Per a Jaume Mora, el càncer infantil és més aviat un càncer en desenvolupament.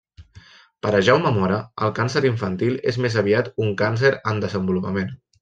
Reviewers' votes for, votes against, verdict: 1, 2, rejected